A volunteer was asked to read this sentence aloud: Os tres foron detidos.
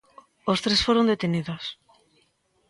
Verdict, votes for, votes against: rejected, 0, 2